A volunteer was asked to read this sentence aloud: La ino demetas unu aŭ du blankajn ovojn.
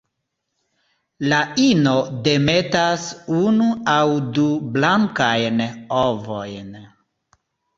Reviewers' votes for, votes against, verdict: 2, 0, accepted